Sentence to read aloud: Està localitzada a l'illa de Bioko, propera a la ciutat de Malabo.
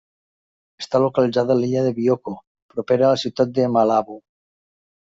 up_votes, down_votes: 2, 0